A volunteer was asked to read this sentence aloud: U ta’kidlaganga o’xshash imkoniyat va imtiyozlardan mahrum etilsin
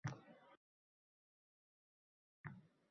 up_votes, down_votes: 0, 4